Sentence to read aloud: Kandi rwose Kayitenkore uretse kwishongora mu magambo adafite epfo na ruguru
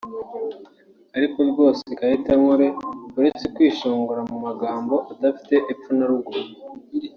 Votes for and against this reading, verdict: 2, 1, accepted